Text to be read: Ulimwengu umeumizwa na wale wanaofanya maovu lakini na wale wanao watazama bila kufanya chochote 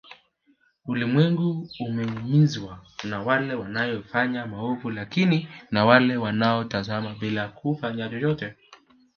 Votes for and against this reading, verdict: 1, 2, rejected